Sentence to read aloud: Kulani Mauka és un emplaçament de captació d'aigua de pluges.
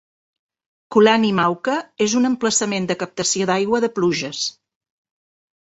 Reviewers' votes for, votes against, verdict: 3, 0, accepted